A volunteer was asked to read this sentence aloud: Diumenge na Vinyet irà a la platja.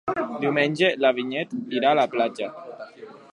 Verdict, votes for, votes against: rejected, 0, 2